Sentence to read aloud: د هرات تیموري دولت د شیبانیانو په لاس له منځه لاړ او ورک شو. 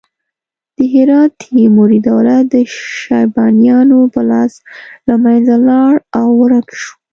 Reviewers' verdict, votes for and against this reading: accepted, 2, 0